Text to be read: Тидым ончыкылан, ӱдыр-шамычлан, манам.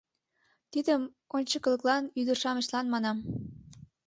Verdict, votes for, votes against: accepted, 2, 1